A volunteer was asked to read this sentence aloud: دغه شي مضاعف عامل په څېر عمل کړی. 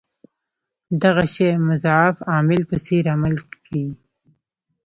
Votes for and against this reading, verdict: 2, 0, accepted